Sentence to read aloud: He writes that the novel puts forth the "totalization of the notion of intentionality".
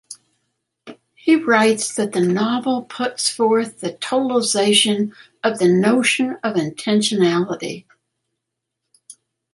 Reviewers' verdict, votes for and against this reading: accepted, 2, 0